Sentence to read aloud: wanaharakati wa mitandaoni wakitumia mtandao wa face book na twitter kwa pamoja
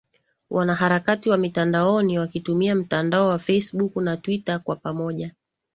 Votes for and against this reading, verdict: 2, 0, accepted